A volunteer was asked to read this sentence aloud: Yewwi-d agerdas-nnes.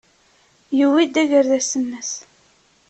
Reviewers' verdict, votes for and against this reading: accepted, 2, 0